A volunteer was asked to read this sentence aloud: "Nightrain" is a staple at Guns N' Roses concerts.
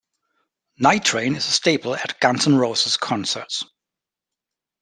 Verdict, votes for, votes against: accepted, 2, 0